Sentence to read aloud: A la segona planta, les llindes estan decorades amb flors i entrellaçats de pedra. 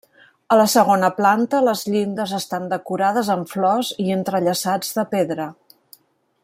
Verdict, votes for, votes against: rejected, 1, 2